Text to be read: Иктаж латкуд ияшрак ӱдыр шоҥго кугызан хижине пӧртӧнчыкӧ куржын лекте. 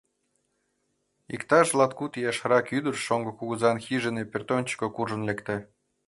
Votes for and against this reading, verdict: 2, 0, accepted